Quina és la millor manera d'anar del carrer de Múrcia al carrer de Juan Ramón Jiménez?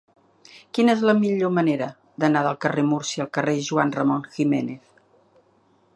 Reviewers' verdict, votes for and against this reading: rejected, 1, 2